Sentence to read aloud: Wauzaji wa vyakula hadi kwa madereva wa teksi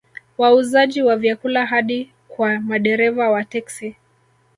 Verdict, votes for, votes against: rejected, 1, 2